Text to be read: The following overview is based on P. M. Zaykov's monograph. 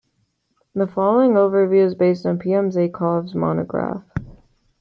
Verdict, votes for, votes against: accepted, 2, 0